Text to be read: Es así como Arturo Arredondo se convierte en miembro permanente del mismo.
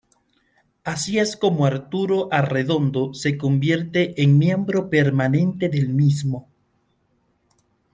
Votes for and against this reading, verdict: 2, 0, accepted